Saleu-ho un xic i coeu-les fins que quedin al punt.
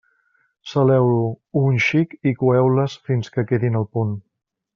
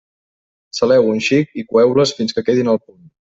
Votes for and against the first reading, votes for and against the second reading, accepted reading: 2, 0, 1, 2, first